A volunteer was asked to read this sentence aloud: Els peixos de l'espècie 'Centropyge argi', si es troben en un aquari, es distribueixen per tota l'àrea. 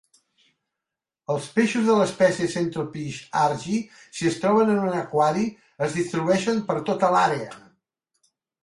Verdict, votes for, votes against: accepted, 2, 0